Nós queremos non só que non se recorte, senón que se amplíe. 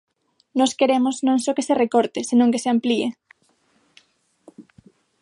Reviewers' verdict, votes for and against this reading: rejected, 3, 6